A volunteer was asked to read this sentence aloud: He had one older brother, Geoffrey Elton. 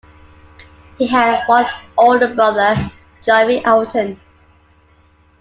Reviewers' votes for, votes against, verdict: 2, 1, accepted